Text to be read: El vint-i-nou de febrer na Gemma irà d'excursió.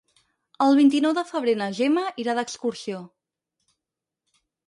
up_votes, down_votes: 2, 2